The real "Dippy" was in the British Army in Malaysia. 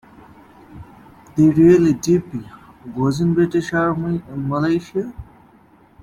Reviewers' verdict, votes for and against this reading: accepted, 2, 1